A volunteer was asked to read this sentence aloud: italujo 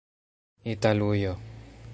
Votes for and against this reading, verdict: 2, 0, accepted